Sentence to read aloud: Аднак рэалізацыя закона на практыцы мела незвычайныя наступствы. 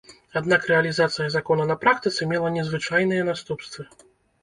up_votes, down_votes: 2, 0